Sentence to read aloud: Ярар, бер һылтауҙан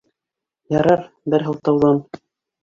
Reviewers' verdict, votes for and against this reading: rejected, 1, 2